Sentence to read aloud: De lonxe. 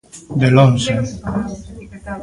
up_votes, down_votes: 1, 2